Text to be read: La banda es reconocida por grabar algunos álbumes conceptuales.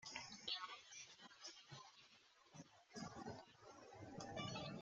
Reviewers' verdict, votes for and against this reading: rejected, 0, 2